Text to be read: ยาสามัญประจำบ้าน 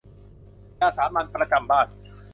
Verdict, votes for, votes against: accepted, 2, 0